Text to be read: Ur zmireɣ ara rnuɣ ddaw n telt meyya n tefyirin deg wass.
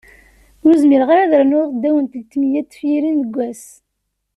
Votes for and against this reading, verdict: 2, 0, accepted